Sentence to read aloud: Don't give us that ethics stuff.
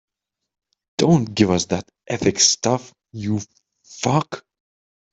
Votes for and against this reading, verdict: 0, 3, rejected